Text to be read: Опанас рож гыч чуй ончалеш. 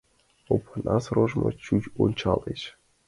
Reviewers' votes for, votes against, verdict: 1, 2, rejected